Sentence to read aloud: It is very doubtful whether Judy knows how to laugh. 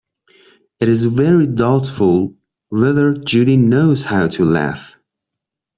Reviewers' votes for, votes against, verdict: 2, 1, accepted